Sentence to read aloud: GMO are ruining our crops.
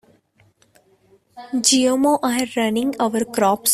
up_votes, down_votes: 1, 2